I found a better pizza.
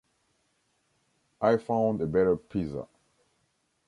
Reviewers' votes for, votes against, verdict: 1, 2, rejected